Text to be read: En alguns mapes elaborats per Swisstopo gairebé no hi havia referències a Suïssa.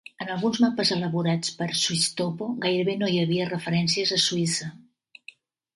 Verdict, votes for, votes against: accepted, 2, 0